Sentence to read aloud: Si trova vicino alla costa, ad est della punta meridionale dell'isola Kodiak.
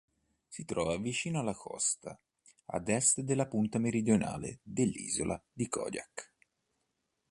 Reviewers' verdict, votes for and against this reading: rejected, 0, 2